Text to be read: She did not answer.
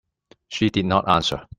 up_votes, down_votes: 2, 0